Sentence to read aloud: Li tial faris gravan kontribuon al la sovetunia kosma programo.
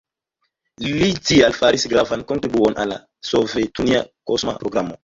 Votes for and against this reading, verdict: 1, 2, rejected